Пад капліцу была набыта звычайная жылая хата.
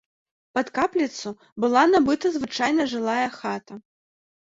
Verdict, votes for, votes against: rejected, 0, 2